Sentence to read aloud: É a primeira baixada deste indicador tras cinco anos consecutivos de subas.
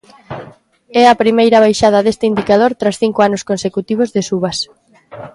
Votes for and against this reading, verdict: 2, 1, accepted